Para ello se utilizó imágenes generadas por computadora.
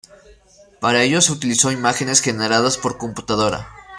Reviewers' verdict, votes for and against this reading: accepted, 2, 1